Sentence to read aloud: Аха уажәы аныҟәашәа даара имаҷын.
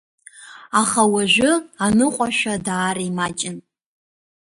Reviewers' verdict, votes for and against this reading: accepted, 2, 0